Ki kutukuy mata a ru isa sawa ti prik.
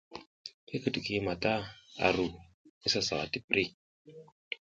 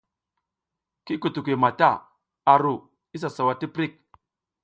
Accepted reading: second